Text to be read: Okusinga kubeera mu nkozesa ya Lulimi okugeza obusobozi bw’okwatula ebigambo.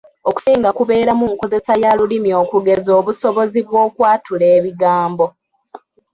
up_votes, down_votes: 0, 2